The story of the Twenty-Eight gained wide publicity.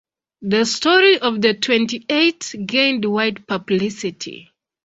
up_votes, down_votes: 2, 1